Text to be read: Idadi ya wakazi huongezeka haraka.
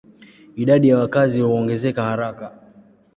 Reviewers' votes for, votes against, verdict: 2, 0, accepted